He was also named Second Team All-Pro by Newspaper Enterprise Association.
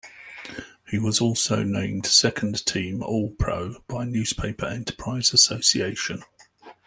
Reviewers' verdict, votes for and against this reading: accepted, 2, 0